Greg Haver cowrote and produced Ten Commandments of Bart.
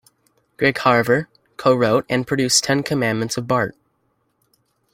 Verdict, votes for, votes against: rejected, 1, 2